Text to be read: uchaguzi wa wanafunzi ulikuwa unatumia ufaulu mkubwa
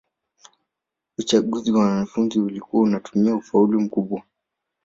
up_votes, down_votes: 1, 2